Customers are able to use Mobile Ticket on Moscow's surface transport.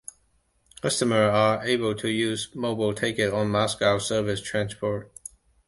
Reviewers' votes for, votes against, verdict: 2, 1, accepted